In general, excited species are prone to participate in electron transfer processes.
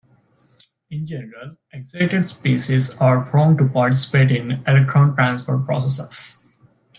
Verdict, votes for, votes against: rejected, 1, 2